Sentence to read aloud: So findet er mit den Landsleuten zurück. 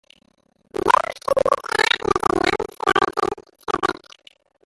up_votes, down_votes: 1, 2